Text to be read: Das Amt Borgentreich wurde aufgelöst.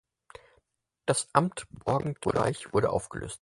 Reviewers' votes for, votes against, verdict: 4, 2, accepted